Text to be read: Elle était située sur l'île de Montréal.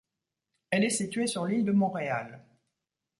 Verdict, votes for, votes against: rejected, 1, 2